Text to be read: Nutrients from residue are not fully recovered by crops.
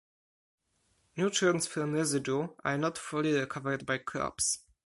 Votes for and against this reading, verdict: 4, 2, accepted